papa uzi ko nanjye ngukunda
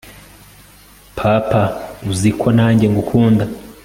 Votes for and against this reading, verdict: 2, 0, accepted